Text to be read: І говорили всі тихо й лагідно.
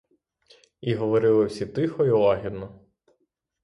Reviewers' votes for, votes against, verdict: 3, 3, rejected